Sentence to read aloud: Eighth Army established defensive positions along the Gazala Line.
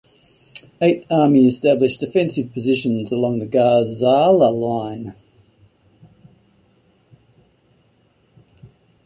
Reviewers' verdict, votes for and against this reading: accepted, 2, 0